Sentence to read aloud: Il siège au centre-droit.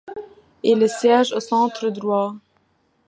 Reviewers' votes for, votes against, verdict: 2, 1, accepted